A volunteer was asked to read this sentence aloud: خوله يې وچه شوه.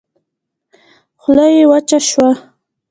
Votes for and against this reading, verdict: 1, 2, rejected